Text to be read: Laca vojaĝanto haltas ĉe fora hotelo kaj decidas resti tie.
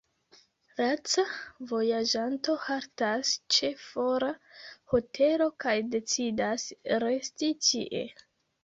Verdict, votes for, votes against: rejected, 1, 2